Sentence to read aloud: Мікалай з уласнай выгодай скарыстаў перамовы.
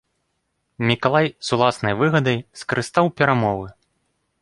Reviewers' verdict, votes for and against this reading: rejected, 0, 2